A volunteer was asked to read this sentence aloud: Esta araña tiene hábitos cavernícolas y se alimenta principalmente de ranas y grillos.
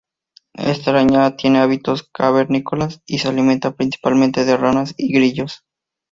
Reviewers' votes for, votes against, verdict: 4, 0, accepted